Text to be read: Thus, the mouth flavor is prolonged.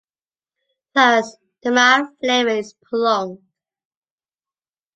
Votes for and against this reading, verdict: 0, 2, rejected